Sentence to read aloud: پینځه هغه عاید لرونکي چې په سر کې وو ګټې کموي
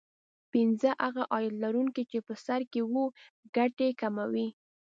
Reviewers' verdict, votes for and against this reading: accepted, 2, 0